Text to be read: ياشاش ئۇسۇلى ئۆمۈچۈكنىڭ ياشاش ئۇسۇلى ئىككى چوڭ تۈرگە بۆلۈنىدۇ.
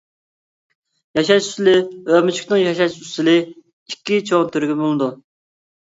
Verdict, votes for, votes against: rejected, 0, 2